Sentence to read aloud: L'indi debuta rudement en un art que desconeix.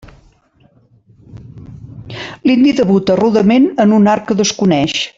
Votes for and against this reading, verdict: 2, 0, accepted